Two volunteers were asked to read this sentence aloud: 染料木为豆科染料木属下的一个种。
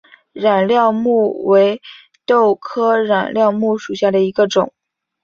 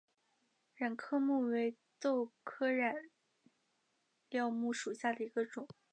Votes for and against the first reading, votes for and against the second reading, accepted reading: 2, 0, 0, 2, first